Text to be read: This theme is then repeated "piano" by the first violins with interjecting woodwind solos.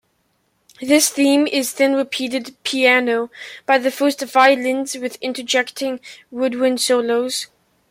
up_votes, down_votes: 2, 1